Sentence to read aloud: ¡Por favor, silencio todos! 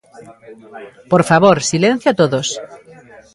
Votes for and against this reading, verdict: 1, 2, rejected